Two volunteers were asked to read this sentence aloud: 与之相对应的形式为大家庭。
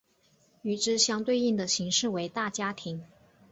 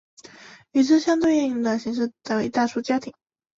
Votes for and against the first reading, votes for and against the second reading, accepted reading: 2, 0, 0, 2, first